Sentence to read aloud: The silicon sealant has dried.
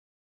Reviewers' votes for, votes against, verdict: 0, 2, rejected